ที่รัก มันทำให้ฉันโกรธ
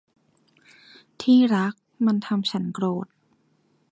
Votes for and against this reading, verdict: 0, 2, rejected